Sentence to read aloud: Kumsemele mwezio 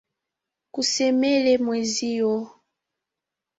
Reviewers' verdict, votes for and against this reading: rejected, 1, 2